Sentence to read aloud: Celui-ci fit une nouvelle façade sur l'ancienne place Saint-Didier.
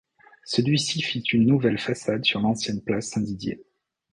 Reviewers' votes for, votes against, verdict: 2, 0, accepted